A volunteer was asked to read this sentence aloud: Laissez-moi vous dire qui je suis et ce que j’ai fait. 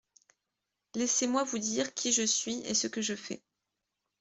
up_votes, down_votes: 1, 2